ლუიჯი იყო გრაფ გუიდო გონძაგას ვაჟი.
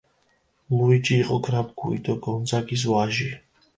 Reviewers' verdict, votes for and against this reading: rejected, 1, 2